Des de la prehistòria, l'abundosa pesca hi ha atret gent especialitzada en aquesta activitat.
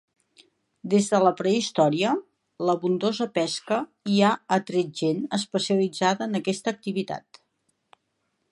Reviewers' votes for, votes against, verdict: 4, 0, accepted